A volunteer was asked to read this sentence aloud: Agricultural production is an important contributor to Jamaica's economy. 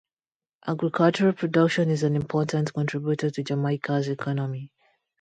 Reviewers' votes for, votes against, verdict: 2, 0, accepted